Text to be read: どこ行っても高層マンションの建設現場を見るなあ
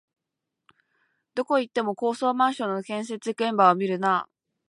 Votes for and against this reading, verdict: 2, 0, accepted